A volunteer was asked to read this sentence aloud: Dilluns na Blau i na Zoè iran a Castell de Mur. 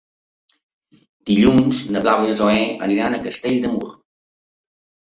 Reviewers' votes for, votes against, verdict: 0, 2, rejected